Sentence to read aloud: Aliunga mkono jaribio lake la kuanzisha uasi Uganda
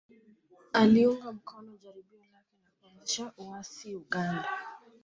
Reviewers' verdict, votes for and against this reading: rejected, 1, 2